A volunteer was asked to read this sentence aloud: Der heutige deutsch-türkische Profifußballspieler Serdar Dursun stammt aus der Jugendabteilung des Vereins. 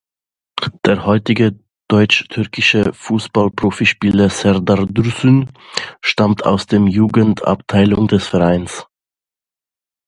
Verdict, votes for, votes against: rejected, 0, 2